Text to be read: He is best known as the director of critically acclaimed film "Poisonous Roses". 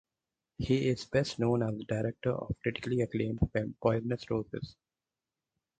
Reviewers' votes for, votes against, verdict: 2, 2, rejected